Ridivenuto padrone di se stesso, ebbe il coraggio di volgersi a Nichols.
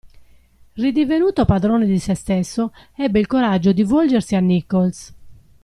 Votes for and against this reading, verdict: 2, 0, accepted